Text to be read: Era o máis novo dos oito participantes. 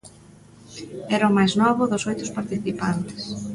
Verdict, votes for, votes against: rejected, 0, 2